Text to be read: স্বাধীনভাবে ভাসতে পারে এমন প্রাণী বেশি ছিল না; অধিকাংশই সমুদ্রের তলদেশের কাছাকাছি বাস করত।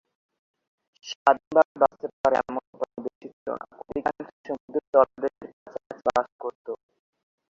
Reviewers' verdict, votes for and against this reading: rejected, 0, 2